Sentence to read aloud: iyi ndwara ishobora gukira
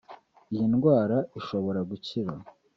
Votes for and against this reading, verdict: 2, 0, accepted